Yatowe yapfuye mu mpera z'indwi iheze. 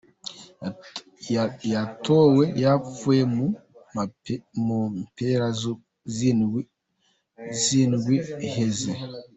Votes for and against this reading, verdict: 0, 2, rejected